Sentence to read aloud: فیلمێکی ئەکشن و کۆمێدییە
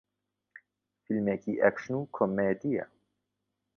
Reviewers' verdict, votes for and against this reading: accepted, 2, 0